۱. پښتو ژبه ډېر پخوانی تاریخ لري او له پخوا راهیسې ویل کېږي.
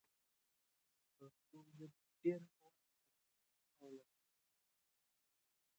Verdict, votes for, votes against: rejected, 0, 2